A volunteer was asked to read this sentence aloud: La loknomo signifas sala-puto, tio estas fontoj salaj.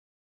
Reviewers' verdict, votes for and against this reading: rejected, 0, 2